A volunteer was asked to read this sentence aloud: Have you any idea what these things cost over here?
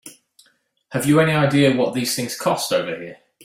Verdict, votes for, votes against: accepted, 2, 0